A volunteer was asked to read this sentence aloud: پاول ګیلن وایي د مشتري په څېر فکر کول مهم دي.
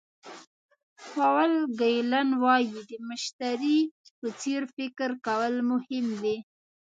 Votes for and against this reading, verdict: 2, 0, accepted